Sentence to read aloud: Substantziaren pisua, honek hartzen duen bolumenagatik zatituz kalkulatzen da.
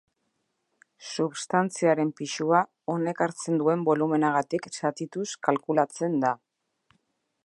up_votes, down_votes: 3, 0